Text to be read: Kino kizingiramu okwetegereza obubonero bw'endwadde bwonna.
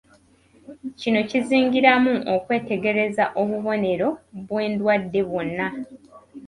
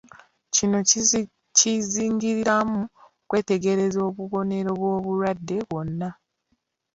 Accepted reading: first